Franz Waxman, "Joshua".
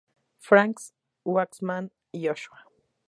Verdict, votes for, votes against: accepted, 2, 0